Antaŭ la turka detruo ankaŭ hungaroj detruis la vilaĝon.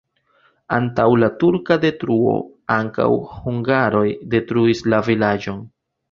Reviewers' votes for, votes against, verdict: 2, 1, accepted